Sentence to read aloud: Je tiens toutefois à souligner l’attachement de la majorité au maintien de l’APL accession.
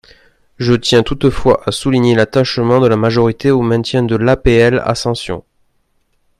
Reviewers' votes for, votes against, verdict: 1, 2, rejected